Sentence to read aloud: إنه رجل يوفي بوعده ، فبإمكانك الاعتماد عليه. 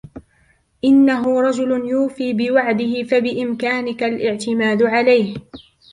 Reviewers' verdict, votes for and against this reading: accepted, 2, 1